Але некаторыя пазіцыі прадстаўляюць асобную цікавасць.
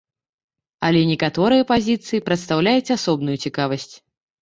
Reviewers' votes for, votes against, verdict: 3, 0, accepted